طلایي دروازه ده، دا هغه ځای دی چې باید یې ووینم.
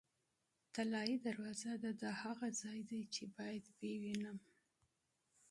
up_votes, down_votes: 0, 2